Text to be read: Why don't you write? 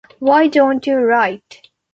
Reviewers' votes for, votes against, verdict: 2, 0, accepted